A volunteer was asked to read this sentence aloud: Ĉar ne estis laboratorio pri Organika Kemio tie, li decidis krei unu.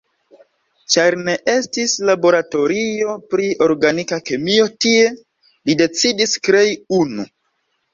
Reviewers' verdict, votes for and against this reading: accepted, 2, 0